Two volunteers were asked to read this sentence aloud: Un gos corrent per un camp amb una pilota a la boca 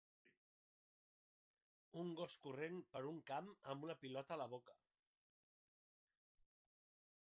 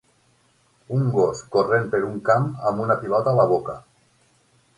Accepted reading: second